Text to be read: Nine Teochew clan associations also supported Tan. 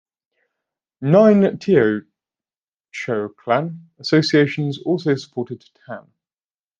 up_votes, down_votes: 0, 2